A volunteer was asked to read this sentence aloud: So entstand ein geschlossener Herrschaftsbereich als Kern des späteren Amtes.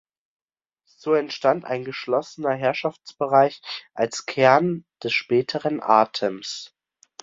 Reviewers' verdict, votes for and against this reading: rejected, 0, 2